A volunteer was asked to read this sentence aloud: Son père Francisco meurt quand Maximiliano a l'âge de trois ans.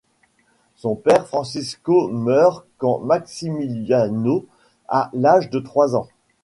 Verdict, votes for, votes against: rejected, 1, 2